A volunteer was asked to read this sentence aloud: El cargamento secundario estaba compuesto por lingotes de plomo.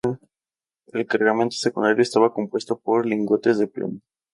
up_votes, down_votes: 0, 2